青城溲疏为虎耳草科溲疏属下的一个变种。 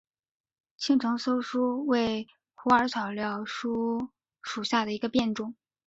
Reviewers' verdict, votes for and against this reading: rejected, 1, 2